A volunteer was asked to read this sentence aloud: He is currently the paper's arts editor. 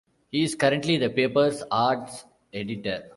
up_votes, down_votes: 2, 1